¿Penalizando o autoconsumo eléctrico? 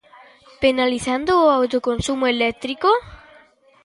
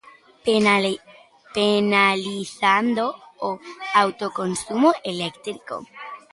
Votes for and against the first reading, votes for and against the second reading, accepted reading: 2, 0, 0, 2, first